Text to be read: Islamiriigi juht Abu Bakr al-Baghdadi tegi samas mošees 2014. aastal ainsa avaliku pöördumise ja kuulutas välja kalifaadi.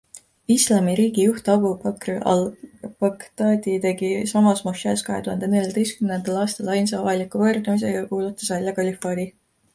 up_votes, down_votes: 0, 2